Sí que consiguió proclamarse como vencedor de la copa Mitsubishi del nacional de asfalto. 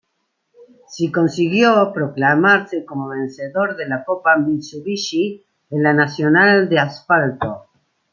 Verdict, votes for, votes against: rejected, 1, 2